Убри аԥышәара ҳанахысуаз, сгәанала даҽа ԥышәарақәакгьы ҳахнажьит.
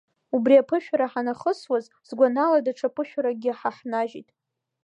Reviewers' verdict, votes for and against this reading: rejected, 1, 2